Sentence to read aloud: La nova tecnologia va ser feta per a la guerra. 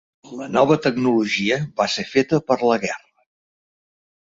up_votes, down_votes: 2, 3